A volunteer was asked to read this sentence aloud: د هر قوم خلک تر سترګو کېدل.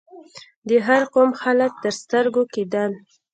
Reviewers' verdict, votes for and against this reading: accepted, 2, 0